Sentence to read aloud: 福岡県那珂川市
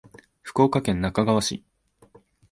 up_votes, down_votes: 2, 0